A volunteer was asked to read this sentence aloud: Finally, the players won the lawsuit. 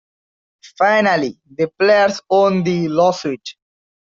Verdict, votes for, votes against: accepted, 2, 1